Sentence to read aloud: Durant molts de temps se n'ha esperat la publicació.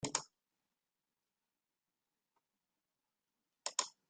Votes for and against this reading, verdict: 0, 2, rejected